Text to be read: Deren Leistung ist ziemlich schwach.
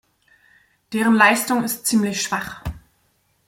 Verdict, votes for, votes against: accepted, 2, 0